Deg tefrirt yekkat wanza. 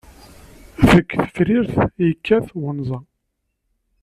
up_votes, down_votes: 1, 2